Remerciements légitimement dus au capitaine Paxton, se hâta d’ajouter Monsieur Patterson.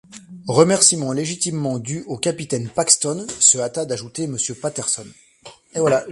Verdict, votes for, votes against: rejected, 1, 2